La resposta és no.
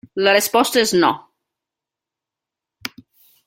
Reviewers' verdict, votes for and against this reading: rejected, 1, 2